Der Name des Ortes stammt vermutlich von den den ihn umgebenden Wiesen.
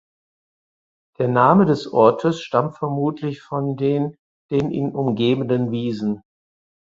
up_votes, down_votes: 4, 0